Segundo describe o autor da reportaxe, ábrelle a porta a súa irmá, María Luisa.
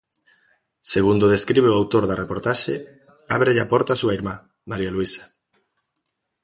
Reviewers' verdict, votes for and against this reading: accepted, 2, 0